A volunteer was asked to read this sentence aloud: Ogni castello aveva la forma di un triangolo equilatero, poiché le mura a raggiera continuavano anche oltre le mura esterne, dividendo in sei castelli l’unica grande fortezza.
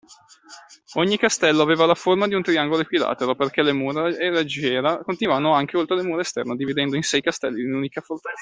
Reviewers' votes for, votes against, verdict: 0, 2, rejected